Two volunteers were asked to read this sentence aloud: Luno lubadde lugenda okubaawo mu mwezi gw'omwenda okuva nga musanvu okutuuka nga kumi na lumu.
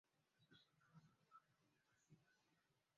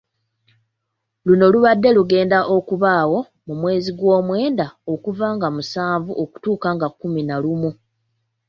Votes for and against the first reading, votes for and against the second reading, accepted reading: 0, 2, 2, 0, second